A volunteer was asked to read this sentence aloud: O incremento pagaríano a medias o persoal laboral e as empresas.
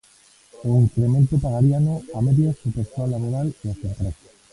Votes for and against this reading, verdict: 1, 2, rejected